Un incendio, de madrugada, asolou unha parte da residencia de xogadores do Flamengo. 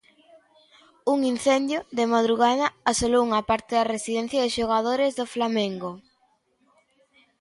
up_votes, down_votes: 2, 0